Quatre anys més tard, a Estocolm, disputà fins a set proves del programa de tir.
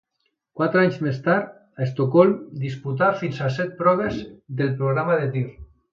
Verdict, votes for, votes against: accepted, 2, 0